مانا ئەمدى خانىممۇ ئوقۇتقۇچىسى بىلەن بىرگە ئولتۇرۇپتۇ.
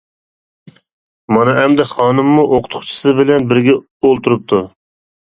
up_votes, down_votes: 2, 0